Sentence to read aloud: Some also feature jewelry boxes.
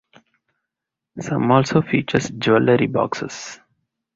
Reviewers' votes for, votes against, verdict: 4, 2, accepted